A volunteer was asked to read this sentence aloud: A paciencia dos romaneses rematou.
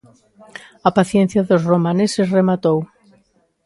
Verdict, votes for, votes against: accepted, 2, 0